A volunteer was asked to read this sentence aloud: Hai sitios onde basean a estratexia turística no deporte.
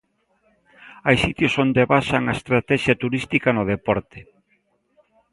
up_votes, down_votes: 1, 2